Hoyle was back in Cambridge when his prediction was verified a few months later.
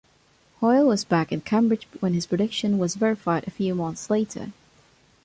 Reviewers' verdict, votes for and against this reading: accepted, 2, 0